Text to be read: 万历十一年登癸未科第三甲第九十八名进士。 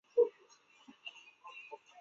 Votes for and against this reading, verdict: 0, 2, rejected